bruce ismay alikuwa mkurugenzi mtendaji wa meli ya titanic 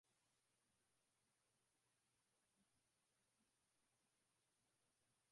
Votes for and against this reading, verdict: 0, 2, rejected